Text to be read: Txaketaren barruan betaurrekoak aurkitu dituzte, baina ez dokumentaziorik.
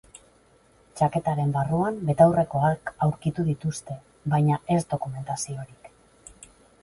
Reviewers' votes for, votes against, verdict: 4, 0, accepted